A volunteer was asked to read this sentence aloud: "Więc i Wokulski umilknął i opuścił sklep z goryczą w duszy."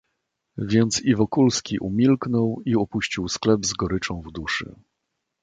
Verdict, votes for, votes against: accepted, 2, 0